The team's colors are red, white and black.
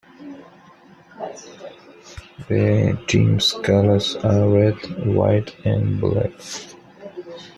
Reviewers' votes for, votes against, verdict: 2, 1, accepted